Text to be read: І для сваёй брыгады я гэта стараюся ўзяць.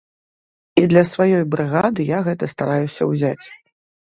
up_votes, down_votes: 2, 0